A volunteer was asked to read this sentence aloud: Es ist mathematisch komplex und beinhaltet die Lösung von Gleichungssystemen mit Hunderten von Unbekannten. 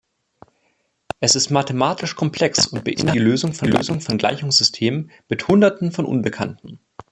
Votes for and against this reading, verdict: 0, 2, rejected